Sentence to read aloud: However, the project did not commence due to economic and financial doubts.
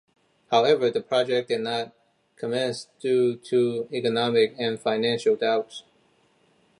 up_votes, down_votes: 1, 2